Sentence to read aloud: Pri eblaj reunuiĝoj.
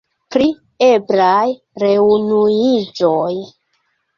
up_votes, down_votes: 2, 0